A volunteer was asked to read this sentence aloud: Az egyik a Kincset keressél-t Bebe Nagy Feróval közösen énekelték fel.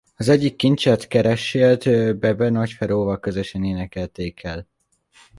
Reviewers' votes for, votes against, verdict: 0, 2, rejected